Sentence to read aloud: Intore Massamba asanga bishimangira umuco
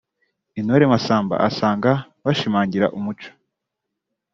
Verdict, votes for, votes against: accepted, 2, 1